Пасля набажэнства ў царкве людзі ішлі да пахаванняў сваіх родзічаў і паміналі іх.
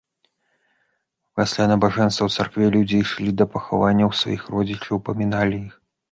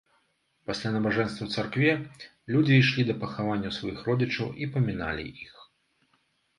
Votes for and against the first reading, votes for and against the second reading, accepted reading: 1, 2, 2, 0, second